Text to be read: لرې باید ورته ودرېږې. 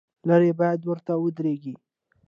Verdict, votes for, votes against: accepted, 2, 0